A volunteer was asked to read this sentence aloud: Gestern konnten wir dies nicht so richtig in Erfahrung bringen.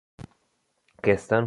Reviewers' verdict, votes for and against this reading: rejected, 0, 2